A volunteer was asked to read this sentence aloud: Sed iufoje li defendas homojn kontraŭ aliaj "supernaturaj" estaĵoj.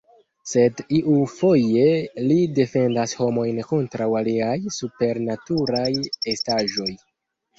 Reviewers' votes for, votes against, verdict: 1, 2, rejected